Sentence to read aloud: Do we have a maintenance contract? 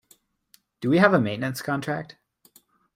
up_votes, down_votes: 2, 0